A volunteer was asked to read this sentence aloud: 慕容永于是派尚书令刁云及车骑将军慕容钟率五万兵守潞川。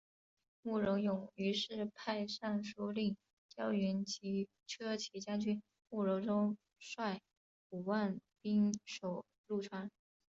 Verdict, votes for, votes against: accepted, 3, 2